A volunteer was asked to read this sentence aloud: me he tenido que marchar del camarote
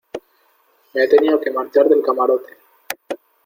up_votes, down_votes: 2, 0